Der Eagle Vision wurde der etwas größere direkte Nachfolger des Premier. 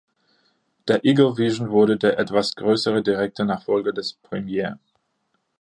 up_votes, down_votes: 1, 2